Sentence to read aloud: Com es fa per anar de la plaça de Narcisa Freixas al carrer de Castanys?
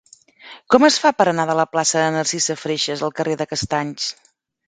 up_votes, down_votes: 3, 0